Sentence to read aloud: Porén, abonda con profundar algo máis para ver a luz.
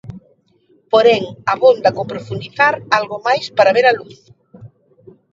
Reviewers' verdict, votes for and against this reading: rejected, 0, 2